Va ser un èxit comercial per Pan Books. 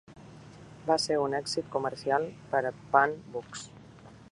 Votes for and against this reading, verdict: 0, 2, rejected